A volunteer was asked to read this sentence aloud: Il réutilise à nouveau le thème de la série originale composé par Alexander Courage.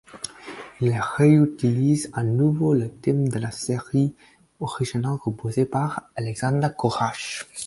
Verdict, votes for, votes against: rejected, 2, 4